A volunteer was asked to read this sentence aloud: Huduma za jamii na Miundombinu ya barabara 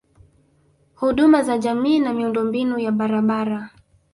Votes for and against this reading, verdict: 2, 0, accepted